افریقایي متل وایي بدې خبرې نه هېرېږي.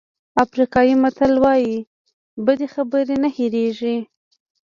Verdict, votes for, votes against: accepted, 2, 1